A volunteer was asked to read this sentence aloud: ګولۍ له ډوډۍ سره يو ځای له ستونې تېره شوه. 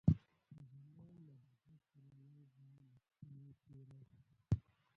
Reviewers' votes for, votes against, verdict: 1, 2, rejected